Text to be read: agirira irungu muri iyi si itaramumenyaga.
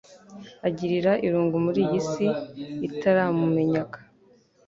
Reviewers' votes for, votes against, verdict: 3, 0, accepted